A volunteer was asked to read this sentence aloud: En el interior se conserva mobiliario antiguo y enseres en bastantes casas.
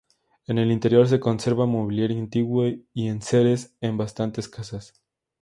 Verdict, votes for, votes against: accepted, 2, 0